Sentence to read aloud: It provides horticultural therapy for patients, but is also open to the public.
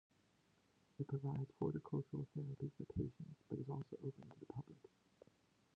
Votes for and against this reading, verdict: 2, 0, accepted